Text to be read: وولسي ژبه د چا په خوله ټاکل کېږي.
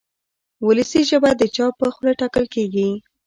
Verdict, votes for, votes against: accepted, 2, 0